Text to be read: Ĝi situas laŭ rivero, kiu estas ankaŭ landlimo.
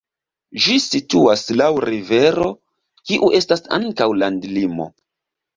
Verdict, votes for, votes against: accepted, 2, 1